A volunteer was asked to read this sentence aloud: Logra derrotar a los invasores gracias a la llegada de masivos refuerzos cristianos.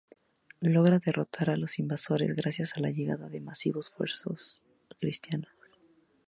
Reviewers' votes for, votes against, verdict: 4, 0, accepted